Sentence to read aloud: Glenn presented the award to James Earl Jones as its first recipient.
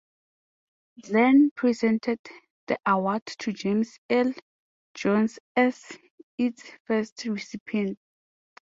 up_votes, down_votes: 2, 0